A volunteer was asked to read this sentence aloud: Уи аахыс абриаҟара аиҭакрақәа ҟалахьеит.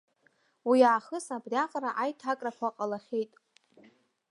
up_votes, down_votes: 0, 2